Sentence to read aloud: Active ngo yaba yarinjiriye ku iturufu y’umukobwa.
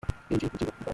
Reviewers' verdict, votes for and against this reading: rejected, 0, 2